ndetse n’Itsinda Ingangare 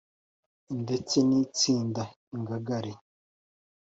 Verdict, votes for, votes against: accepted, 2, 0